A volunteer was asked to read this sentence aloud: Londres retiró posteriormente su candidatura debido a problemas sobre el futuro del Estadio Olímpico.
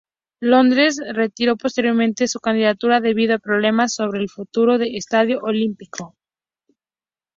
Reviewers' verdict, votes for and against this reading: accepted, 2, 0